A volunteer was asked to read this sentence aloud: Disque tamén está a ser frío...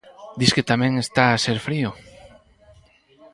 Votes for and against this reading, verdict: 0, 4, rejected